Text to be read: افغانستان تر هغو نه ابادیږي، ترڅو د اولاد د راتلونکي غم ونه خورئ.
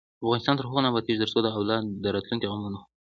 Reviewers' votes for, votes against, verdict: 0, 2, rejected